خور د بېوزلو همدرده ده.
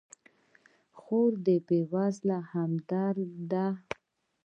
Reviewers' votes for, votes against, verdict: 0, 2, rejected